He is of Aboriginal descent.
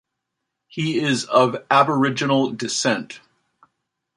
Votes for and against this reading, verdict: 2, 0, accepted